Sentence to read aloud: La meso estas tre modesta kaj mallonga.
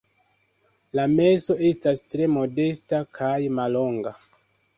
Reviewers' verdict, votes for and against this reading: rejected, 1, 2